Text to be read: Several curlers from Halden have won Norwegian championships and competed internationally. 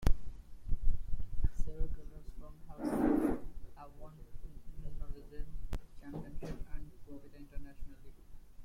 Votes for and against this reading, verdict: 1, 2, rejected